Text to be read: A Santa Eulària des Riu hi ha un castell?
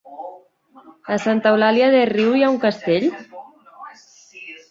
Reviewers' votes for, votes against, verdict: 1, 3, rejected